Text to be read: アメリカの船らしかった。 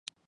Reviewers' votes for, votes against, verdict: 1, 2, rejected